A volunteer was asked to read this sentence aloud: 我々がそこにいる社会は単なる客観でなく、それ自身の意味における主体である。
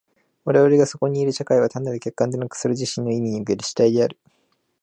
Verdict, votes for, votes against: accepted, 2, 0